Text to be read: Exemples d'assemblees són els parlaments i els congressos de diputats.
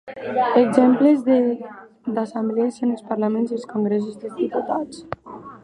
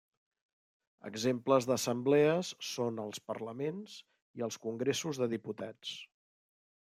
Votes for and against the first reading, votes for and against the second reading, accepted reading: 0, 2, 3, 0, second